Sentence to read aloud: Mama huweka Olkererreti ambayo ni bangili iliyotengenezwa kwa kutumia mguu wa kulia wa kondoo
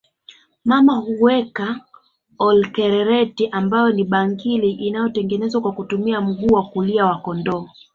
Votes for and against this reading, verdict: 4, 1, accepted